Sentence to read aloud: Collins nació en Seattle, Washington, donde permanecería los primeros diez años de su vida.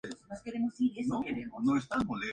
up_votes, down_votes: 0, 4